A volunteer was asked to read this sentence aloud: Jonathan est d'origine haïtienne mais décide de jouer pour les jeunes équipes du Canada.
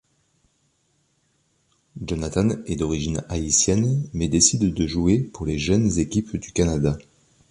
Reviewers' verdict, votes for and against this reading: accepted, 2, 0